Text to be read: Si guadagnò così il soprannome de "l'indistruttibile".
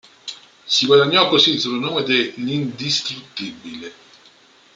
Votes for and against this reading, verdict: 1, 2, rejected